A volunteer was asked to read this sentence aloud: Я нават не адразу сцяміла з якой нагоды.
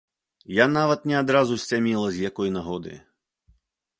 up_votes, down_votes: 1, 2